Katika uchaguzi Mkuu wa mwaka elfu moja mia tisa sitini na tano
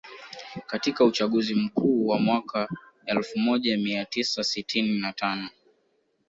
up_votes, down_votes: 1, 2